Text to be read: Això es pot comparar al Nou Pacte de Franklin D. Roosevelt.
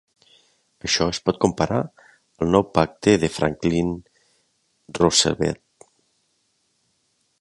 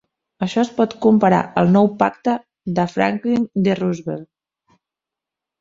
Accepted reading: second